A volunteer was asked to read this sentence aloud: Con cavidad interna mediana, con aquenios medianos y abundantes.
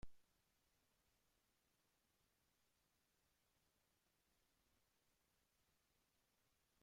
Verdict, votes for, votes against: rejected, 0, 2